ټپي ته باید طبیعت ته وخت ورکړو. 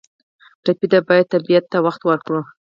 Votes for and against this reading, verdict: 6, 0, accepted